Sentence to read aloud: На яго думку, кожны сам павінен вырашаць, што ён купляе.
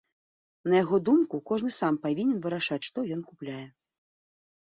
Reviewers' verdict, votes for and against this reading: accepted, 2, 0